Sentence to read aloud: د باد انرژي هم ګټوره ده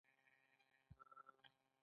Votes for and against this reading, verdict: 1, 2, rejected